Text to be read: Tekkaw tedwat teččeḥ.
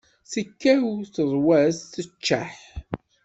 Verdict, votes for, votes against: rejected, 0, 2